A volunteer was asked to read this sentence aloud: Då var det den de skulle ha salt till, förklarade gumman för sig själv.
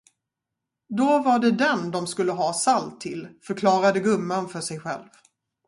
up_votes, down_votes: 2, 2